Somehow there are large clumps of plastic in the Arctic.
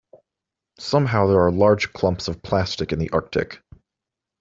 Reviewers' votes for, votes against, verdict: 2, 0, accepted